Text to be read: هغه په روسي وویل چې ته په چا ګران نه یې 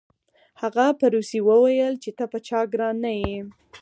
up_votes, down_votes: 4, 0